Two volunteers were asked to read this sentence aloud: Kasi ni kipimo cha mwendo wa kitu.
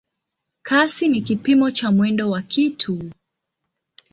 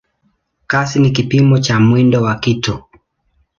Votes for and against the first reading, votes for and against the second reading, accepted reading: 0, 2, 2, 0, second